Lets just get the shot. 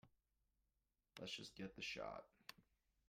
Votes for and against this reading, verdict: 0, 2, rejected